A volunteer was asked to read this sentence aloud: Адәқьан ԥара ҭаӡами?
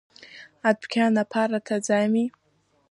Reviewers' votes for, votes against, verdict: 1, 2, rejected